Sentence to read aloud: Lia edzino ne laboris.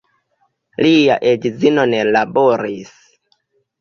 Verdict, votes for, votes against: accepted, 2, 1